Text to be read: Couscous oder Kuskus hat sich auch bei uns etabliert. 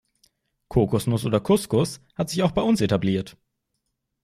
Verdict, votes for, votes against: rejected, 0, 2